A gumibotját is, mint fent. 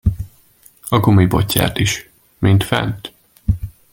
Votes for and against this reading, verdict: 2, 0, accepted